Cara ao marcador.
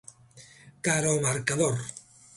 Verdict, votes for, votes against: accepted, 2, 0